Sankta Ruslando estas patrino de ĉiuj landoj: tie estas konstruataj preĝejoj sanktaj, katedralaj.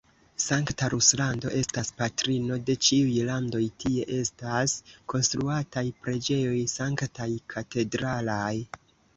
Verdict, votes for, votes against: rejected, 1, 2